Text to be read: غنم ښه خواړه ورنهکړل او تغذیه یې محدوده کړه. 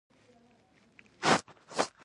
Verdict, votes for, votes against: rejected, 0, 2